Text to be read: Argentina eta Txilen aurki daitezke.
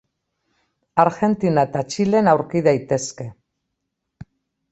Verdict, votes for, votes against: accepted, 2, 0